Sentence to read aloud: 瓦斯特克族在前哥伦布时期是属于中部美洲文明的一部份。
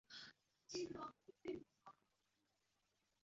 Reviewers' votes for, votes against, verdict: 0, 2, rejected